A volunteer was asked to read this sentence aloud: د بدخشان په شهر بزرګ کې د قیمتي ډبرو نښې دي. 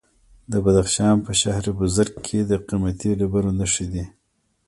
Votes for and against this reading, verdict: 1, 2, rejected